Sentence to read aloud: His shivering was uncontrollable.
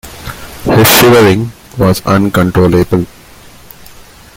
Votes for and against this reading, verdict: 1, 2, rejected